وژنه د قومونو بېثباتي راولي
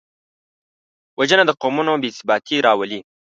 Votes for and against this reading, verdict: 2, 0, accepted